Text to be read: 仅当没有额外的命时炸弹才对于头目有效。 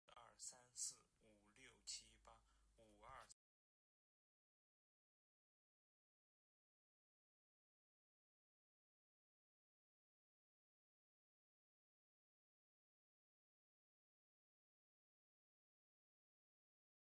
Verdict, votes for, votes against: rejected, 0, 6